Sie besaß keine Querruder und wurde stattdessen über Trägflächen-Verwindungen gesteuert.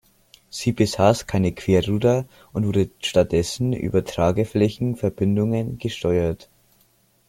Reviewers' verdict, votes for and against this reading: rejected, 0, 2